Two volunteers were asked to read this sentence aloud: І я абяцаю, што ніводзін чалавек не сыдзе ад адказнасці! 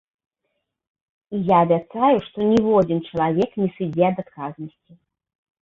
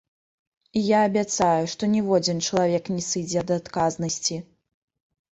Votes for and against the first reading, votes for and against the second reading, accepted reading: 1, 2, 2, 0, second